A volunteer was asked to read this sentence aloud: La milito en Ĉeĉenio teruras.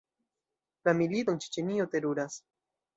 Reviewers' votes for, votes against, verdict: 2, 0, accepted